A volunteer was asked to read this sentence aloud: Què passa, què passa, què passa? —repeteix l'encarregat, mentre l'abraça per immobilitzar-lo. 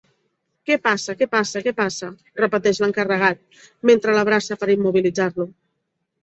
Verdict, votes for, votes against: accepted, 3, 0